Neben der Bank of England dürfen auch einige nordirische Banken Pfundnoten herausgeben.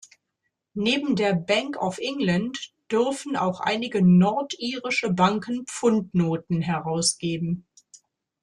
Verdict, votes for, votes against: accepted, 2, 0